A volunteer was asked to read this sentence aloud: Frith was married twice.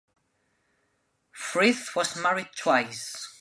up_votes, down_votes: 2, 0